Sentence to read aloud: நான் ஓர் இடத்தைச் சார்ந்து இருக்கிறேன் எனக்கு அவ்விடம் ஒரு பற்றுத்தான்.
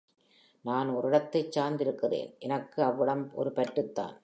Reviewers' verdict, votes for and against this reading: accepted, 4, 0